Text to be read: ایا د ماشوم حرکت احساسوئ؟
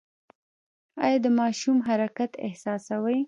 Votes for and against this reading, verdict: 1, 2, rejected